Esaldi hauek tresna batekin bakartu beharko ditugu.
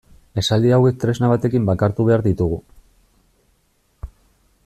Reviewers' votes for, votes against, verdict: 0, 2, rejected